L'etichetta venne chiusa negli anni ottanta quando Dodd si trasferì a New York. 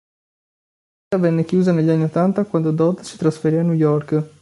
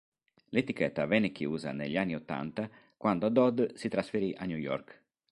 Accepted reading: second